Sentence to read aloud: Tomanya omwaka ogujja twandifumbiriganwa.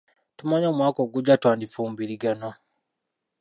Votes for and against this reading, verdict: 0, 2, rejected